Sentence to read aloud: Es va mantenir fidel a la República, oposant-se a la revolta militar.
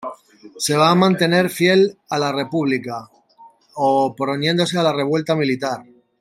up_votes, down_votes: 0, 2